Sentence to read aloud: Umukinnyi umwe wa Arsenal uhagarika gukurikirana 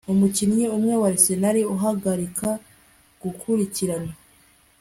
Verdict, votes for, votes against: accepted, 2, 0